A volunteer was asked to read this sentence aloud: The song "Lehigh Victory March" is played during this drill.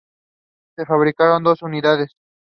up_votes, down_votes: 0, 2